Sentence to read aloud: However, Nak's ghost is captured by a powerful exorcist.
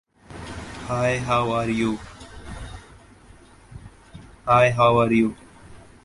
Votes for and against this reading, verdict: 0, 2, rejected